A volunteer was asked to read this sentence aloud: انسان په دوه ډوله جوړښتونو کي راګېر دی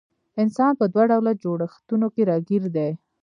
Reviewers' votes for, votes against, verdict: 0, 2, rejected